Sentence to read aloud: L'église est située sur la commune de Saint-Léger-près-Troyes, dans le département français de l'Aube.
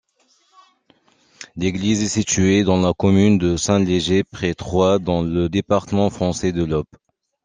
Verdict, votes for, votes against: rejected, 0, 2